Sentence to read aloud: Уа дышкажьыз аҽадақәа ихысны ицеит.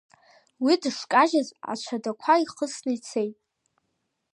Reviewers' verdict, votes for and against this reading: rejected, 1, 2